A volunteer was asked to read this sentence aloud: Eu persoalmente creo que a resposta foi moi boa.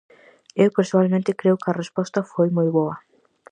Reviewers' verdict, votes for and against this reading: accepted, 4, 0